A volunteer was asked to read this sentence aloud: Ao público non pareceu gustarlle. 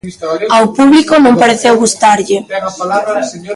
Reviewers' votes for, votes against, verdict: 1, 2, rejected